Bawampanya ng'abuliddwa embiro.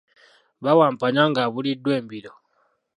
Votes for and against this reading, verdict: 0, 2, rejected